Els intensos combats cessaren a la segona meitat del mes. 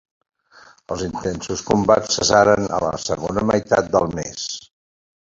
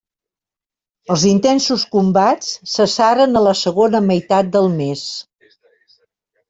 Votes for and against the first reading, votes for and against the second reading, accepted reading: 1, 2, 3, 0, second